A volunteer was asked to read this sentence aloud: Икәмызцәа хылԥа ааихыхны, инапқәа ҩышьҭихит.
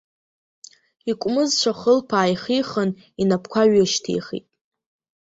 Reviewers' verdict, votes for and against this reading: rejected, 1, 2